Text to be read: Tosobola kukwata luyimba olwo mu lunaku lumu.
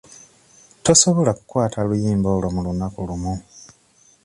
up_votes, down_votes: 2, 1